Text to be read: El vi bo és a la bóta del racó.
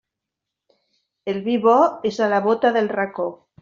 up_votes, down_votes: 3, 0